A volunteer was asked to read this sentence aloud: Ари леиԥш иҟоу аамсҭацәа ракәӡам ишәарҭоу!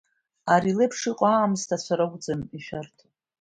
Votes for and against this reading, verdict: 2, 0, accepted